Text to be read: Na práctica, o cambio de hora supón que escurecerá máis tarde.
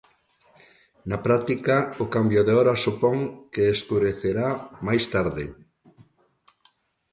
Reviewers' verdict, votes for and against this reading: accepted, 2, 1